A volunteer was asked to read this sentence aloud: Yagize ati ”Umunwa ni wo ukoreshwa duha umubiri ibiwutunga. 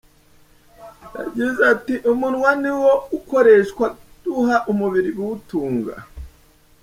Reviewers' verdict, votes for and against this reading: rejected, 0, 2